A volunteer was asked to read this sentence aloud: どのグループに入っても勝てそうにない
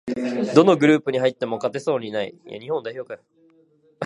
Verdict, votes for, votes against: rejected, 1, 2